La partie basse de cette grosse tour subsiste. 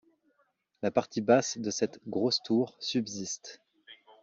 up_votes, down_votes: 2, 0